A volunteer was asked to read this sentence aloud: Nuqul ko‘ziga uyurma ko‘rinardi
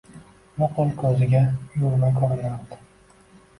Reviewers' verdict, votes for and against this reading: accepted, 2, 0